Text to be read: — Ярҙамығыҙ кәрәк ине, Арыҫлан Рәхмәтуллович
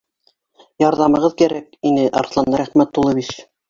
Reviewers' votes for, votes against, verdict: 1, 2, rejected